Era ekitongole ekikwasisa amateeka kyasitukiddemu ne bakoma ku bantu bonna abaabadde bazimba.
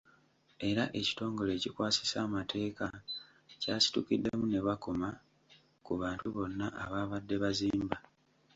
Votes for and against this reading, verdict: 2, 1, accepted